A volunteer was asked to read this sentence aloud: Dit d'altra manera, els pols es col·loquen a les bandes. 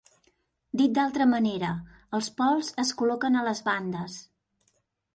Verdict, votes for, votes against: accepted, 3, 0